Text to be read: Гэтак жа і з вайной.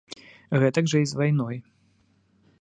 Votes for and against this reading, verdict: 2, 0, accepted